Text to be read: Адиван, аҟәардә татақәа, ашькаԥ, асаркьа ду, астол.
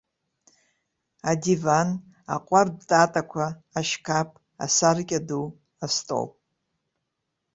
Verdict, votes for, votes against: accepted, 2, 0